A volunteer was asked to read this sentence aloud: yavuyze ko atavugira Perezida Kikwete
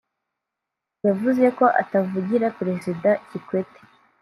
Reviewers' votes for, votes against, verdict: 2, 1, accepted